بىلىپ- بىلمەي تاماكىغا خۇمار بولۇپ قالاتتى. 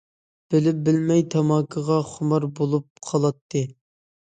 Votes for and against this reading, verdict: 2, 0, accepted